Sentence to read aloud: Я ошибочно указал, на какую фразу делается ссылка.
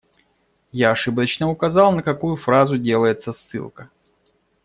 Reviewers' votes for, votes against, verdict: 2, 0, accepted